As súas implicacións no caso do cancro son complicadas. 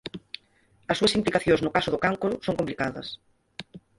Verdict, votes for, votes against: accepted, 4, 2